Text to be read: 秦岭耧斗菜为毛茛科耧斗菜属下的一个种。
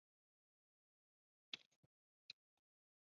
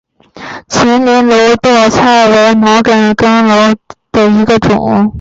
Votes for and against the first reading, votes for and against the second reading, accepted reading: 0, 2, 3, 1, second